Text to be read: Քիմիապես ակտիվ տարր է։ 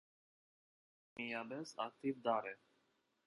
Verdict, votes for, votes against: rejected, 1, 2